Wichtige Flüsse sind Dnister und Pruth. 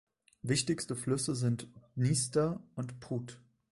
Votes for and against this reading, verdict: 1, 2, rejected